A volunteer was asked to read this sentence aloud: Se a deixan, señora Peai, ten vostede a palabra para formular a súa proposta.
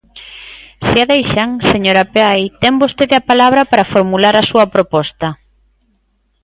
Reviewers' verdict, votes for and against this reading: accepted, 2, 0